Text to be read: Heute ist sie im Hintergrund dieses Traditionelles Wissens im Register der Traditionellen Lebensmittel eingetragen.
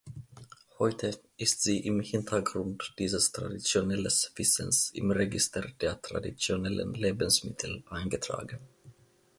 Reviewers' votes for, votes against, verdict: 2, 0, accepted